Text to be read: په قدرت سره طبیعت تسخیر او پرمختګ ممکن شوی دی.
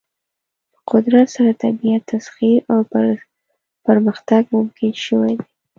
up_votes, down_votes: 0, 2